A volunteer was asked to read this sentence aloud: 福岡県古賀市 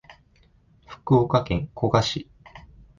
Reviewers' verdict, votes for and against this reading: accepted, 2, 0